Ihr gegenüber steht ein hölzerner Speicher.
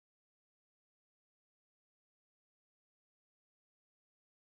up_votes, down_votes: 0, 2